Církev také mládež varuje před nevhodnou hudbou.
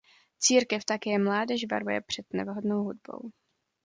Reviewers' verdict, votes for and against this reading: accepted, 2, 0